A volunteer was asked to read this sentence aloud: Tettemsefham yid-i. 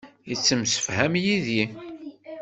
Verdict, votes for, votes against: rejected, 1, 2